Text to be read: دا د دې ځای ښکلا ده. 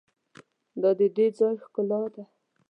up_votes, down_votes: 0, 2